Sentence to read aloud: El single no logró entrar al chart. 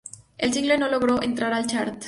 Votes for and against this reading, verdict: 2, 2, rejected